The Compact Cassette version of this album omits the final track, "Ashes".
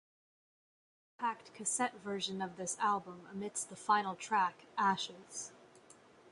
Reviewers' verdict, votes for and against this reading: rejected, 0, 2